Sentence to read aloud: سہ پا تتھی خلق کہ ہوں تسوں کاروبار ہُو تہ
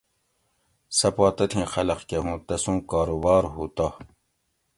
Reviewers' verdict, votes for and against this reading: accepted, 2, 0